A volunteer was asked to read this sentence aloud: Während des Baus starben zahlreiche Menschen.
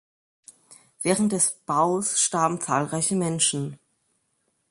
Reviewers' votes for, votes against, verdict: 2, 0, accepted